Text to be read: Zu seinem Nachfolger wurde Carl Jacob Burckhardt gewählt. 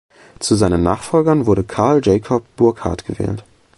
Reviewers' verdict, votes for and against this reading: rejected, 1, 2